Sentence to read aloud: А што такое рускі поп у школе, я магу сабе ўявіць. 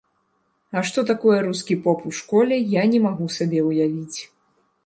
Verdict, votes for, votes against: rejected, 1, 2